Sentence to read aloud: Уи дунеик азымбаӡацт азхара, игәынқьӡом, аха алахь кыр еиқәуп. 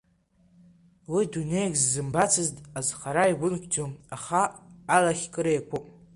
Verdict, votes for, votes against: rejected, 1, 2